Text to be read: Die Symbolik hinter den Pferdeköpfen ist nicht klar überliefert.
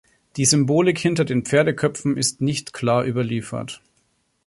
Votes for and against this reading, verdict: 3, 0, accepted